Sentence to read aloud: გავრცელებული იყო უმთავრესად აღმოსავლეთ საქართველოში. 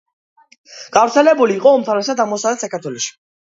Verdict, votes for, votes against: accepted, 2, 0